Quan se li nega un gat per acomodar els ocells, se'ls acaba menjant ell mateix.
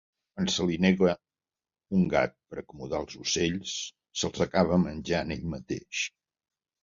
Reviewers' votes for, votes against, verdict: 1, 2, rejected